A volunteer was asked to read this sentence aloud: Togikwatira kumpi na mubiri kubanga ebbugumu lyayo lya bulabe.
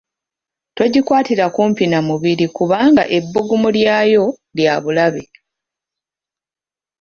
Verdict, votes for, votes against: accepted, 2, 0